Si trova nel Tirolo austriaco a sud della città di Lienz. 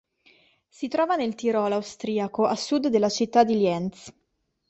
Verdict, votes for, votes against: accepted, 2, 0